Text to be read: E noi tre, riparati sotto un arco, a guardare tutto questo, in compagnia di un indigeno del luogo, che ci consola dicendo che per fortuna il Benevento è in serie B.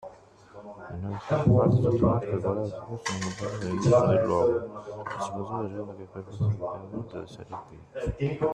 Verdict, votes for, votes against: rejected, 0, 2